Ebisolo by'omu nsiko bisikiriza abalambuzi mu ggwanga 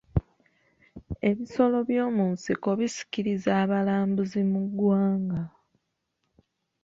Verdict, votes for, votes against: accepted, 2, 0